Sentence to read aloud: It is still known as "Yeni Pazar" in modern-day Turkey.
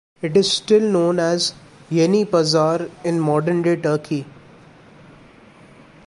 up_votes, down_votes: 2, 0